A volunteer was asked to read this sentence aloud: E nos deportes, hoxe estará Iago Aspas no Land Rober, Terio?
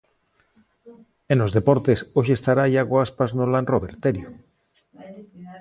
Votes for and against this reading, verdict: 0, 2, rejected